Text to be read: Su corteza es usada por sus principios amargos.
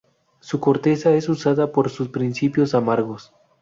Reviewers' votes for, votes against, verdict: 0, 2, rejected